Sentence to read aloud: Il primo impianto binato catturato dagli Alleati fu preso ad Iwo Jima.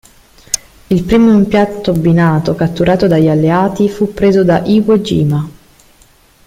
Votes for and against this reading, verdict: 0, 2, rejected